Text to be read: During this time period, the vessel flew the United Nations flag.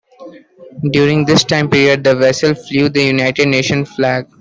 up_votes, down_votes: 2, 1